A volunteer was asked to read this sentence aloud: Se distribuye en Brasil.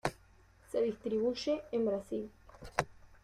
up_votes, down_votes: 1, 2